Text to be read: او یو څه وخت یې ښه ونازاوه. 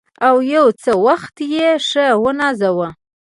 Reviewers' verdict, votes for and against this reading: accepted, 2, 1